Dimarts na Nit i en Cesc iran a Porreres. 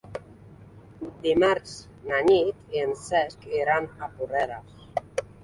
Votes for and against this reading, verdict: 3, 0, accepted